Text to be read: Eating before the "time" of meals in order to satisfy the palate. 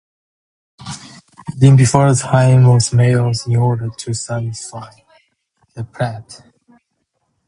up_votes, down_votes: 4, 0